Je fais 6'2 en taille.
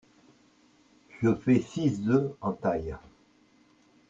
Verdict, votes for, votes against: rejected, 0, 2